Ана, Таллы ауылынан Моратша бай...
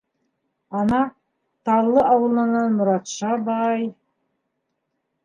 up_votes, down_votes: 0, 2